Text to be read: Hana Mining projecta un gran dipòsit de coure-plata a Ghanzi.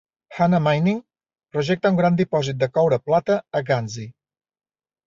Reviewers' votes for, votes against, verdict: 2, 0, accepted